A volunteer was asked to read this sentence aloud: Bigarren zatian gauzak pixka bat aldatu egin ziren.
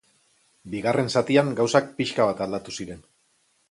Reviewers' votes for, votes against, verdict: 0, 2, rejected